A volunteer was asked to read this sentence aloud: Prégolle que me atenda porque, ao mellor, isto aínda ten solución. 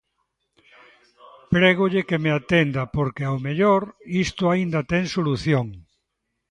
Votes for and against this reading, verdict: 2, 0, accepted